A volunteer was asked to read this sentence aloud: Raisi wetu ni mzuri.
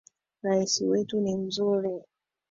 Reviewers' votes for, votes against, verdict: 2, 0, accepted